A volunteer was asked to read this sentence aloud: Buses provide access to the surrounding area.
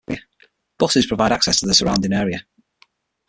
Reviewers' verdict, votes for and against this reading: rejected, 3, 6